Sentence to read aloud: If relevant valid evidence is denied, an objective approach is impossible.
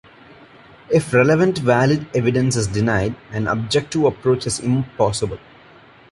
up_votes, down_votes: 1, 2